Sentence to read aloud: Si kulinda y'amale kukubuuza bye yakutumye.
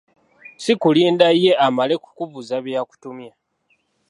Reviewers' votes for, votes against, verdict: 1, 2, rejected